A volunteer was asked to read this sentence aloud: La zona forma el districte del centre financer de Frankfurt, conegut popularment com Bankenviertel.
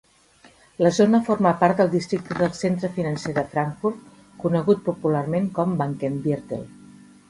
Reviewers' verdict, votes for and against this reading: rejected, 1, 2